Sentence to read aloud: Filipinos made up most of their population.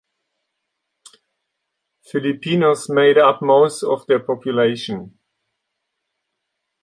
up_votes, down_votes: 2, 0